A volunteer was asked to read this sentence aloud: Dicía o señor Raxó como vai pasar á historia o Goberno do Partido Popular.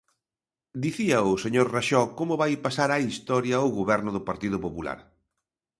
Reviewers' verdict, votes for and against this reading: accepted, 2, 0